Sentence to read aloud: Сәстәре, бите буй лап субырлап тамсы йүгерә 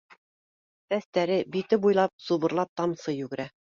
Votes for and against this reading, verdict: 2, 0, accepted